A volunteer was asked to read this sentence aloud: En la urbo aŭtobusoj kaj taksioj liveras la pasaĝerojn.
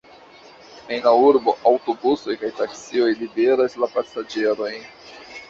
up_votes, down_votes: 2, 0